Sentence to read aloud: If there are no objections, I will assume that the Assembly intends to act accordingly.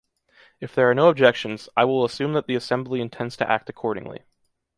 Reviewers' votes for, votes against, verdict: 2, 1, accepted